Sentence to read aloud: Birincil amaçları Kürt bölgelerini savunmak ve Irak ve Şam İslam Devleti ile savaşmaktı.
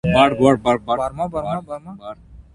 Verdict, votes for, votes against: rejected, 0, 2